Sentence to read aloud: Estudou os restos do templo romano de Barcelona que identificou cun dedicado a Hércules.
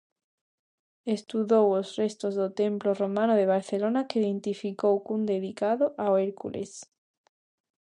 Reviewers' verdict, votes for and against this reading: rejected, 0, 2